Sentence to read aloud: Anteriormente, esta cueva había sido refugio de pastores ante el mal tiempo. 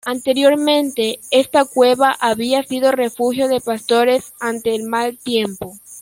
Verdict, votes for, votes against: accepted, 2, 0